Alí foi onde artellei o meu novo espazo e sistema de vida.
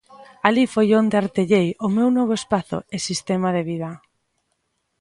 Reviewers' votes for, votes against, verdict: 2, 0, accepted